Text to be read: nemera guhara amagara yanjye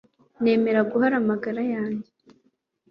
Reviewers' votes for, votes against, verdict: 2, 0, accepted